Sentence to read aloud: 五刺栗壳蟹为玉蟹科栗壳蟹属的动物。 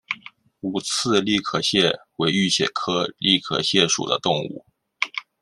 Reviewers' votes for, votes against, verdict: 2, 0, accepted